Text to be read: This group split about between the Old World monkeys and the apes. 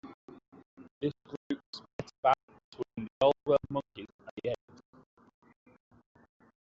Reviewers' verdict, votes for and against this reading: rejected, 1, 3